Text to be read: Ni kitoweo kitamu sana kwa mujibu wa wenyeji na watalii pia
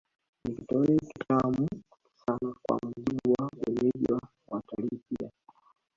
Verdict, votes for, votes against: rejected, 0, 2